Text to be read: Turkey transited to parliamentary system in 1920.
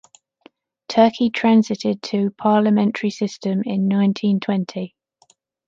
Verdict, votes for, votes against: rejected, 0, 2